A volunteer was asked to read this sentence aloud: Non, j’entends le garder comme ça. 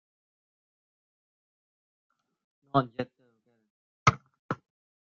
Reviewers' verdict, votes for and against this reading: rejected, 0, 2